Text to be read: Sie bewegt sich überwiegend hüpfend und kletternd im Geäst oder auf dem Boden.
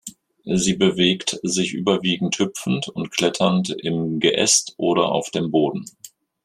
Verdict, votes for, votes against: accepted, 2, 0